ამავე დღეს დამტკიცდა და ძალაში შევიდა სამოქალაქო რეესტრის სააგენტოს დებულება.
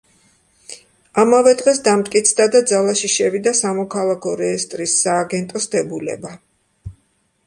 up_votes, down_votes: 2, 0